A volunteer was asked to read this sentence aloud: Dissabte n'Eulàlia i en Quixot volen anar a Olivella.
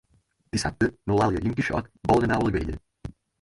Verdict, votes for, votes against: rejected, 2, 4